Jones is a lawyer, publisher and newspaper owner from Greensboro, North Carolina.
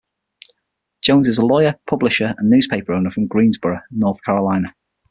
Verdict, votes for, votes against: accepted, 6, 0